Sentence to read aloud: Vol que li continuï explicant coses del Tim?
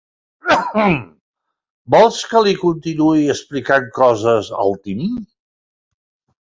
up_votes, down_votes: 1, 2